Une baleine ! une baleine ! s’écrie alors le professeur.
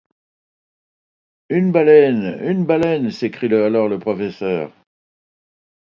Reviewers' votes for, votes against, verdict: 0, 2, rejected